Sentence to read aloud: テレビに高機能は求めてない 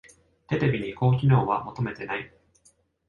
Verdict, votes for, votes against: accepted, 2, 0